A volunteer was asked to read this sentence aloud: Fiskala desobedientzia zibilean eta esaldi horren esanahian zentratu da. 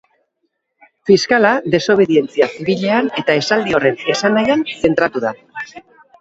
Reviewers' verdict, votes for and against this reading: rejected, 2, 2